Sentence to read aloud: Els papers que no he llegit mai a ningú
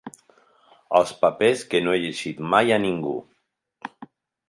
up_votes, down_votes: 2, 0